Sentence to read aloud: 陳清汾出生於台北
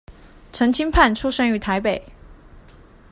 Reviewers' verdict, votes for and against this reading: rejected, 0, 2